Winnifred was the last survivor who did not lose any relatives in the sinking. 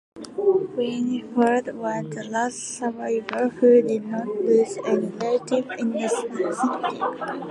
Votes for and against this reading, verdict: 1, 2, rejected